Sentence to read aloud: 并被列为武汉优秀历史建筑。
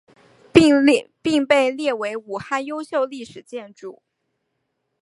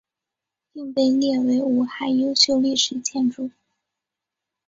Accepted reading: second